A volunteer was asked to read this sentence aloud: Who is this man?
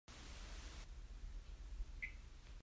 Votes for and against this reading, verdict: 0, 4, rejected